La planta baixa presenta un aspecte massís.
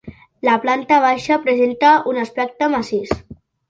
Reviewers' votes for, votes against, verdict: 2, 0, accepted